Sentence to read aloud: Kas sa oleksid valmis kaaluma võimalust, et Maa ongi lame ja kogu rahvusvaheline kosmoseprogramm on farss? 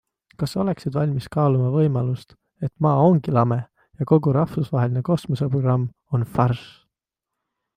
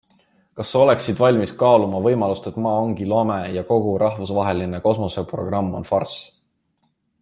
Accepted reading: second